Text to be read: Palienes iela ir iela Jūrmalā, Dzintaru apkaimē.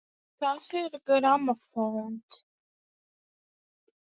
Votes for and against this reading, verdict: 0, 2, rejected